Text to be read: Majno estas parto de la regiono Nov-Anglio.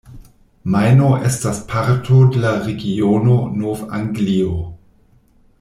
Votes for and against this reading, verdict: 1, 2, rejected